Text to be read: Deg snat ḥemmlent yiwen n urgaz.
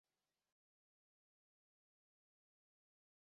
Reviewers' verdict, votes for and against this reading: rejected, 0, 2